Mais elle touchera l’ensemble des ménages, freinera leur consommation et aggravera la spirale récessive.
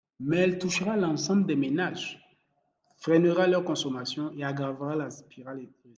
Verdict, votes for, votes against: rejected, 1, 2